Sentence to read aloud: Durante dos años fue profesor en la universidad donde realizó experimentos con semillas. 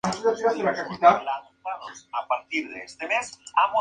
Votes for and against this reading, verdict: 0, 2, rejected